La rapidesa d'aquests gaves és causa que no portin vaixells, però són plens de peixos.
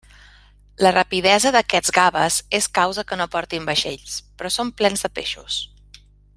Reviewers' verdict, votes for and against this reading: accepted, 3, 1